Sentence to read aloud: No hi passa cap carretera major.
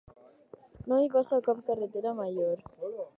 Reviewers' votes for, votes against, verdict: 2, 0, accepted